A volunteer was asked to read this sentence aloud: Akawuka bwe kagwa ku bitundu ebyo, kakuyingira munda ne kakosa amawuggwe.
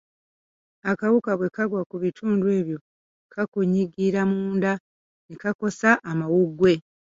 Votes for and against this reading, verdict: 0, 2, rejected